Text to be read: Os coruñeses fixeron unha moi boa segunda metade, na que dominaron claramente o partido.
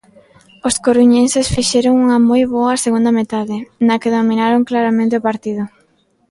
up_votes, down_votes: 3, 0